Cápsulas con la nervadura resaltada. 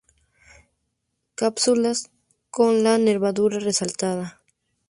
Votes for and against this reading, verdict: 4, 0, accepted